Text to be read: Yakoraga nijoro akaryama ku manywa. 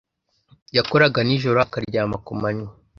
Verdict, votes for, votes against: accepted, 2, 0